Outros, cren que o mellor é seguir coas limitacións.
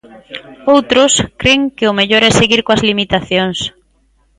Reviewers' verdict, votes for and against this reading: rejected, 1, 2